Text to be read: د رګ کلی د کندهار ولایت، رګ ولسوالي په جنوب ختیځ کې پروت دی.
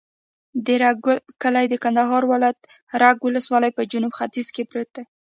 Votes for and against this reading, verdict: 1, 2, rejected